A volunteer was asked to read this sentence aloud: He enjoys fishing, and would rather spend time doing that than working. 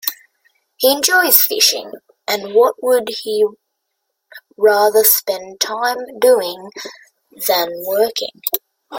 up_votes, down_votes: 1, 3